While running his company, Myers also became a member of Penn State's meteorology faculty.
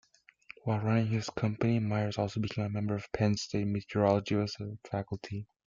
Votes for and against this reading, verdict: 0, 2, rejected